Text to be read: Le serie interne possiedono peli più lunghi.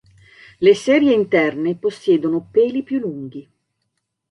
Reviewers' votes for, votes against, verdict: 2, 0, accepted